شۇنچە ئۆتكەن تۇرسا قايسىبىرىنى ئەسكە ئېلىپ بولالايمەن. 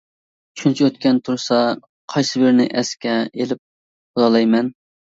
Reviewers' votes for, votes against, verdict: 2, 1, accepted